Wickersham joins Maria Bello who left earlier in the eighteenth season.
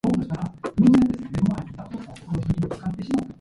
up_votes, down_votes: 0, 2